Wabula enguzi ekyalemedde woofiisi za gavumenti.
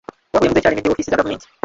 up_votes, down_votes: 0, 2